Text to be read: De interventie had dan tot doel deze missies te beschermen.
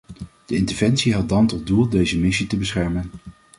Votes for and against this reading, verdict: 1, 2, rejected